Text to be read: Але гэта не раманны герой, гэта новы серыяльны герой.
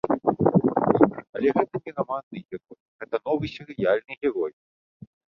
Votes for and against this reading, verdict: 0, 2, rejected